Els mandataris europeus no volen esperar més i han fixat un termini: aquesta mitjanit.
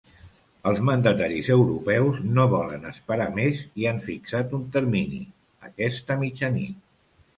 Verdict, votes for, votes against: accepted, 2, 0